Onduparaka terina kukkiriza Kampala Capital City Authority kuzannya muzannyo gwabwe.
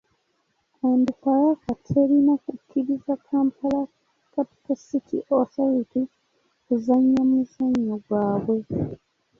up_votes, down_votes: 2, 1